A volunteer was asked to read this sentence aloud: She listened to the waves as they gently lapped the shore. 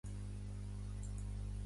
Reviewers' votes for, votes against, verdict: 0, 2, rejected